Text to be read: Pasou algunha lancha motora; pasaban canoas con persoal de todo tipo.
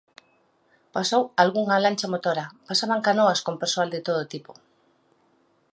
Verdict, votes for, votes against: accepted, 2, 0